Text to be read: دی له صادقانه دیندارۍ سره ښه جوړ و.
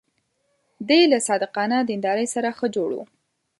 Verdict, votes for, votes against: accepted, 2, 0